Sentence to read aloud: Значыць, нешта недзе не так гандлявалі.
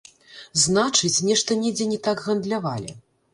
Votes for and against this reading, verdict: 0, 2, rejected